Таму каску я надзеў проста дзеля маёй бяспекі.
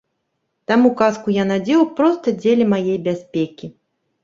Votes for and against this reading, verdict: 1, 2, rejected